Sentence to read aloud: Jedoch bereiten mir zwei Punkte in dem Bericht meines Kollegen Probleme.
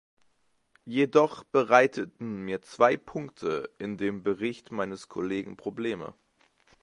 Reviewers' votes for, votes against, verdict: 0, 2, rejected